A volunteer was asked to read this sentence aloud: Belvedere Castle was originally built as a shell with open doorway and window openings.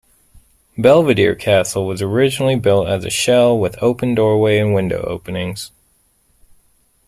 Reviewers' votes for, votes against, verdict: 2, 0, accepted